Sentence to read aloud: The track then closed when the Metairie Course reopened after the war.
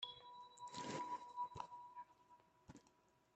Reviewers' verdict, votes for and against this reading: rejected, 0, 2